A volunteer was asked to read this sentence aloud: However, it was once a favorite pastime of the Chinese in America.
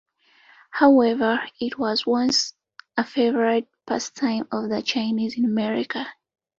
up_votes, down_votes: 2, 0